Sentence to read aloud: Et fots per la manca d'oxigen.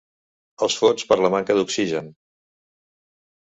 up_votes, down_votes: 0, 2